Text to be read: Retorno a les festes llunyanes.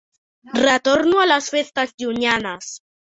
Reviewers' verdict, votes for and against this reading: accepted, 6, 1